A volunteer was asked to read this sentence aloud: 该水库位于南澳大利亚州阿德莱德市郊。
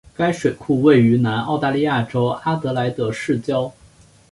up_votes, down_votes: 2, 0